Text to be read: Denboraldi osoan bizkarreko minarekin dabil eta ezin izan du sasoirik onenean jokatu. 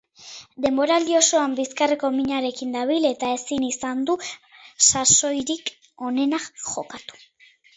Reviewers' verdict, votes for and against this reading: rejected, 0, 2